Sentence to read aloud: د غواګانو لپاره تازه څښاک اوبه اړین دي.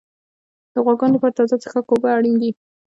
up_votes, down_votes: 0, 2